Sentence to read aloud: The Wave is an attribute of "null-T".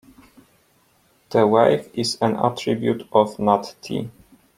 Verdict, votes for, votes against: rejected, 0, 2